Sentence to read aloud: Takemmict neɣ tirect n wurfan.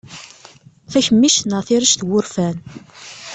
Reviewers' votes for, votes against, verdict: 1, 2, rejected